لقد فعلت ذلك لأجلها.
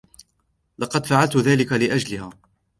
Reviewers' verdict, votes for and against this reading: accepted, 2, 0